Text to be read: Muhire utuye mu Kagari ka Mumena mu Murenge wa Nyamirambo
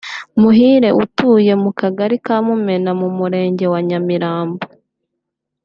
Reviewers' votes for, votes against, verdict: 2, 1, accepted